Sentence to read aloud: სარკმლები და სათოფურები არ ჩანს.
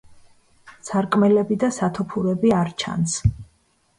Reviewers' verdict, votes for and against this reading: rejected, 1, 2